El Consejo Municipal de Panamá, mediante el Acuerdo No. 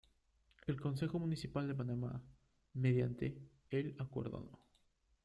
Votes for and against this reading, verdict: 0, 2, rejected